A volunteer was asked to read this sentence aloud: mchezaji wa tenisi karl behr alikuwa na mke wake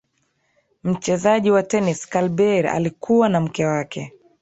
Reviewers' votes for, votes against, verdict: 3, 1, accepted